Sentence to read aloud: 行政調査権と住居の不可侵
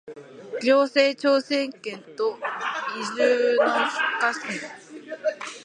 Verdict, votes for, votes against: rejected, 0, 2